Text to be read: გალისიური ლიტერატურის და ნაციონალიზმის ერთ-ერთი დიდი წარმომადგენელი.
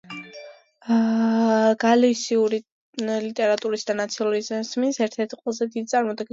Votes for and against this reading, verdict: 0, 2, rejected